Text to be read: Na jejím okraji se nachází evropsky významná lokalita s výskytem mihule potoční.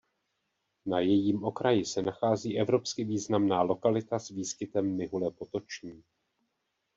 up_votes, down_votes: 2, 0